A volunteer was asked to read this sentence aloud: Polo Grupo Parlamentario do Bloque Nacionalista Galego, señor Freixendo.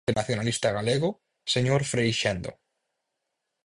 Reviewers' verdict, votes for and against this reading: rejected, 2, 6